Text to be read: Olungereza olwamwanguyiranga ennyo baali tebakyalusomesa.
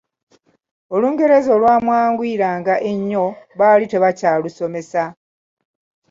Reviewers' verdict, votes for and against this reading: accepted, 2, 0